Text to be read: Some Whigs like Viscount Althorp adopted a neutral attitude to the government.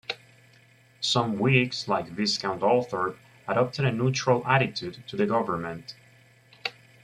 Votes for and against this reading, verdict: 1, 2, rejected